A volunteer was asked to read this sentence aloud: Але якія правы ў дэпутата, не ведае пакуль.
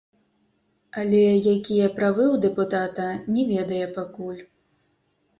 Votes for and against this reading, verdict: 1, 2, rejected